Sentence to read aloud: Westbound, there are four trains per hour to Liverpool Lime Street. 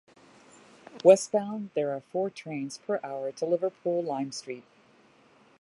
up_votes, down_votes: 2, 0